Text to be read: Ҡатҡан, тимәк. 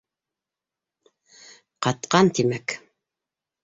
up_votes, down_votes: 3, 0